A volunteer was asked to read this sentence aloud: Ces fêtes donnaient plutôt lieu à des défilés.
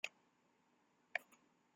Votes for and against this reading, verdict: 0, 2, rejected